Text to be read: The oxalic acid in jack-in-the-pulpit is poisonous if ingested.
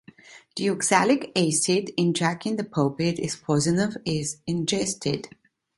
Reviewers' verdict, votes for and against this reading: rejected, 1, 2